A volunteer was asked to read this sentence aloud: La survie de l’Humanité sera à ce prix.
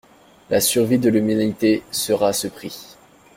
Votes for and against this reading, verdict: 2, 0, accepted